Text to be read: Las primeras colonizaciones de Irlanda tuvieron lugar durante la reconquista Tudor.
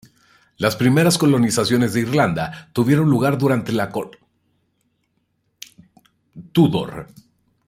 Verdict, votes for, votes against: rejected, 0, 2